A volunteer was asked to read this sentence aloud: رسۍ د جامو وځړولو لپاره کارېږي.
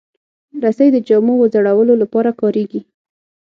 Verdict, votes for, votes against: accepted, 6, 0